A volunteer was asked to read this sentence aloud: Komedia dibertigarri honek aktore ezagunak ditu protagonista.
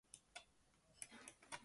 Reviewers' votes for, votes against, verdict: 0, 2, rejected